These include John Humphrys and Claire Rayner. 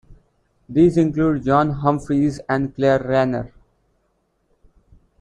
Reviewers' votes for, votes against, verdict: 2, 0, accepted